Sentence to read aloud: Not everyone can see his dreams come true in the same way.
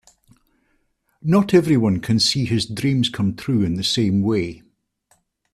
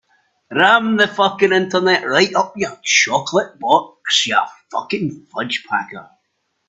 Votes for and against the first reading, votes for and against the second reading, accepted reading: 3, 0, 0, 2, first